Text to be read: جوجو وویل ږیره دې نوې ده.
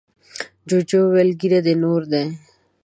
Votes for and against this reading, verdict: 1, 5, rejected